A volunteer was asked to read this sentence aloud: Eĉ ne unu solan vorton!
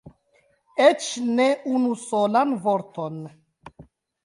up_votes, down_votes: 3, 0